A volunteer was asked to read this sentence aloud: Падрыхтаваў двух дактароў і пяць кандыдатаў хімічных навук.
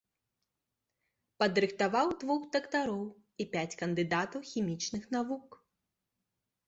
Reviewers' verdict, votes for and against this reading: accepted, 2, 0